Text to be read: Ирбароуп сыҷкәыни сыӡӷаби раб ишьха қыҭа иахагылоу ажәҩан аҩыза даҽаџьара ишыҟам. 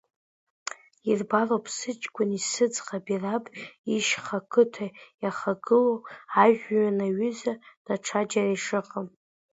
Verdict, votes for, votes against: accepted, 2, 1